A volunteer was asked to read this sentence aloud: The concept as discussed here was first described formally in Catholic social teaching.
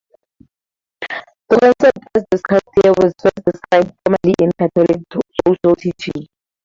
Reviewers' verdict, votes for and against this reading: rejected, 0, 4